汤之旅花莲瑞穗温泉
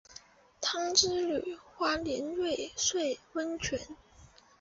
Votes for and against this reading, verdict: 2, 0, accepted